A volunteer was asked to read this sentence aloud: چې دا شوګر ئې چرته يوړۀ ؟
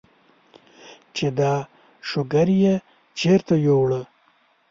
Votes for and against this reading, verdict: 0, 2, rejected